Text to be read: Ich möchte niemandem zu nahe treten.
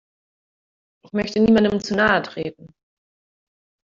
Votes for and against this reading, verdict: 1, 2, rejected